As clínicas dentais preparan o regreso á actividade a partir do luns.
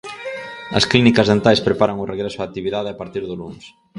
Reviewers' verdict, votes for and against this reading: accepted, 4, 2